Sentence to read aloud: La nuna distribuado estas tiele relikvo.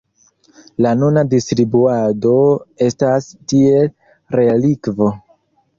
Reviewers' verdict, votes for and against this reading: rejected, 0, 3